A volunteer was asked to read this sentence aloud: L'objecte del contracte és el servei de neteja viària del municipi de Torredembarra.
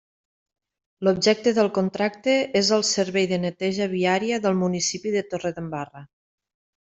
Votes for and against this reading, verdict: 3, 0, accepted